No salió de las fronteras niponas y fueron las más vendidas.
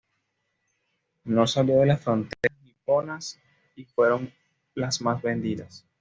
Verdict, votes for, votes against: rejected, 0, 2